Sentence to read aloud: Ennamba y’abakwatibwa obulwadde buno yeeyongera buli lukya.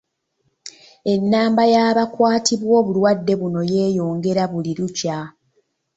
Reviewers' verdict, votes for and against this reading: accepted, 2, 0